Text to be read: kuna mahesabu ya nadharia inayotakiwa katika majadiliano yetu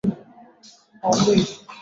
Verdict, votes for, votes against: rejected, 0, 7